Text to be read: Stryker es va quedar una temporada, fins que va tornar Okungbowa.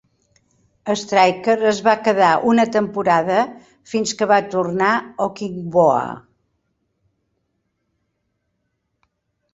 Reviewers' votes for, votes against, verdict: 0, 2, rejected